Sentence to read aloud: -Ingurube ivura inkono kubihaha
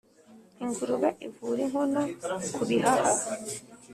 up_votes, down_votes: 2, 0